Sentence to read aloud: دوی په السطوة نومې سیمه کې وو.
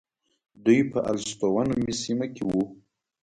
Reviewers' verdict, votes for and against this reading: accepted, 2, 0